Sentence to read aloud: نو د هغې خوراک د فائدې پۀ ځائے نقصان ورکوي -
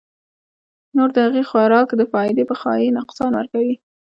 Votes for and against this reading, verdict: 2, 0, accepted